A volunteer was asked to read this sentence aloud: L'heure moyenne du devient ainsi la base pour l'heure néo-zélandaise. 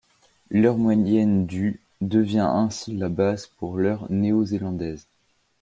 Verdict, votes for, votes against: rejected, 1, 2